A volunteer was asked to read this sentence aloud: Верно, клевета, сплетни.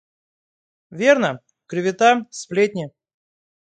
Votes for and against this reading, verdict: 2, 0, accepted